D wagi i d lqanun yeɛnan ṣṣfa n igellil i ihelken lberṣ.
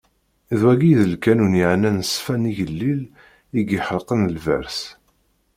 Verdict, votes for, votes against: rejected, 1, 2